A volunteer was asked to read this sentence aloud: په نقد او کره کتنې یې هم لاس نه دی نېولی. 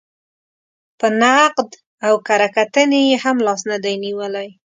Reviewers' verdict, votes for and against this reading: accepted, 2, 0